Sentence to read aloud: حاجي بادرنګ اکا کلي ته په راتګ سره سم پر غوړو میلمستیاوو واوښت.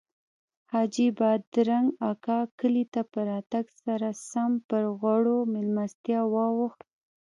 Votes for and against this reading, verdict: 2, 0, accepted